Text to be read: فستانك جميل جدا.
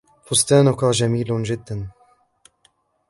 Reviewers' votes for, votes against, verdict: 0, 2, rejected